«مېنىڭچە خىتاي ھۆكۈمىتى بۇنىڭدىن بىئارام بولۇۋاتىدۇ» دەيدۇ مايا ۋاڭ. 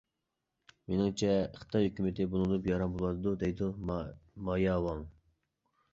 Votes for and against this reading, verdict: 0, 2, rejected